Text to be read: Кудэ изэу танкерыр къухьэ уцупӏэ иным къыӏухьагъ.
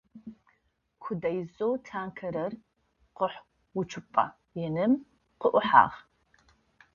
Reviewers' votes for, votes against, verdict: 0, 2, rejected